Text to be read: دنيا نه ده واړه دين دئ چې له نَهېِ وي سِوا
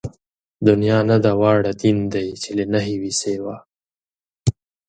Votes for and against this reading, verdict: 6, 0, accepted